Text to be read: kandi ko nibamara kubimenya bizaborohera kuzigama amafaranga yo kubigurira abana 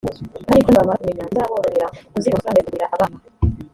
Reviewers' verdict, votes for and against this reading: rejected, 1, 2